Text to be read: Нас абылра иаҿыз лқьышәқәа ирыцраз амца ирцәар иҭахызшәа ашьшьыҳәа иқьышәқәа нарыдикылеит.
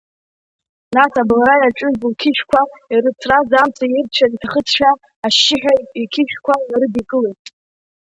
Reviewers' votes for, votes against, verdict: 0, 3, rejected